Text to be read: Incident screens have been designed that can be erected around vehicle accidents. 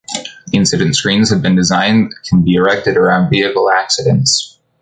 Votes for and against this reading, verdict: 2, 0, accepted